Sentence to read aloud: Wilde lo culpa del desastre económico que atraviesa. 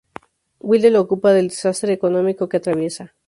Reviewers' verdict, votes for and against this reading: rejected, 0, 2